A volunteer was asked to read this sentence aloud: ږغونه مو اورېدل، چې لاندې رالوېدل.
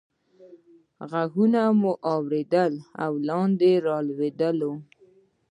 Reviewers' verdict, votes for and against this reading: rejected, 1, 2